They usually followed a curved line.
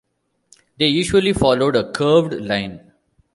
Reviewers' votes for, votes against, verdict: 2, 1, accepted